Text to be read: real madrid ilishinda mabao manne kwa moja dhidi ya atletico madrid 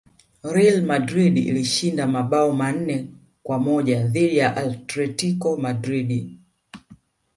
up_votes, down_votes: 0, 2